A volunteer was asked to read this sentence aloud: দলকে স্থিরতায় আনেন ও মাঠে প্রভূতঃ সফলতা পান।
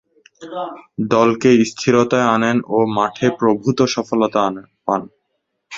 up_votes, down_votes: 0, 2